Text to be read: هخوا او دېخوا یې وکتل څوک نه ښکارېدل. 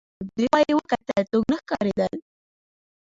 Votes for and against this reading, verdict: 1, 3, rejected